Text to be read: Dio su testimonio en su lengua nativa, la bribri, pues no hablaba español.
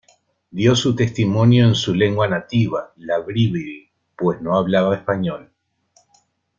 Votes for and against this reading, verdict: 2, 0, accepted